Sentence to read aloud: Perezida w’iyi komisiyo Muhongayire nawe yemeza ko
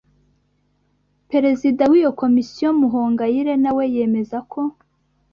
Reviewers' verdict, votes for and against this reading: rejected, 1, 2